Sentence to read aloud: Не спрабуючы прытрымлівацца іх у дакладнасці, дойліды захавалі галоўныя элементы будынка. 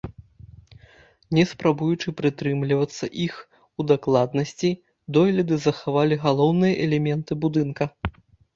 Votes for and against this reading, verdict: 2, 0, accepted